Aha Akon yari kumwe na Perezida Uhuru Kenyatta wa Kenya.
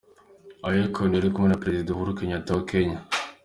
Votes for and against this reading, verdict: 2, 0, accepted